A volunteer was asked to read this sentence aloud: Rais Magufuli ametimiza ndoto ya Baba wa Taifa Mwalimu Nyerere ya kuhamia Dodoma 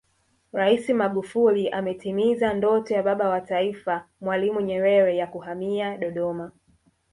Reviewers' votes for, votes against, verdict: 1, 2, rejected